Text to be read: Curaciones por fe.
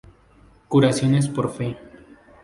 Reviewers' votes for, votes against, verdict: 4, 0, accepted